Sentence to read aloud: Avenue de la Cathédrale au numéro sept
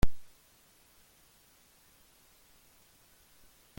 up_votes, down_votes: 0, 2